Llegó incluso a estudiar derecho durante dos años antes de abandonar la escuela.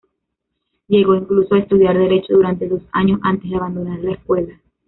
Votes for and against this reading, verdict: 1, 2, rejected